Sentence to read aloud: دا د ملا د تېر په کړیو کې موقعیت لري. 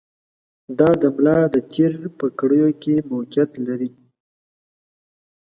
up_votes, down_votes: 2, 0